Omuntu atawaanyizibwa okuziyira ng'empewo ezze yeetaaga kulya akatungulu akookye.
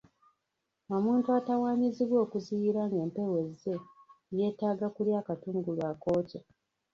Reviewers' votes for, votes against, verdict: 0, 2, rejected